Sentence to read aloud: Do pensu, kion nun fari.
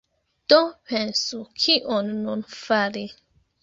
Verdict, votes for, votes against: accepted, 3, 2